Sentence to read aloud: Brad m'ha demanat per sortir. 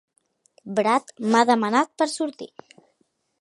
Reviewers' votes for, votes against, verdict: 4, 0, accepted